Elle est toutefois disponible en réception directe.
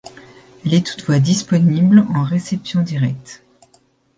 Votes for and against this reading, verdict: 1, 2, rejected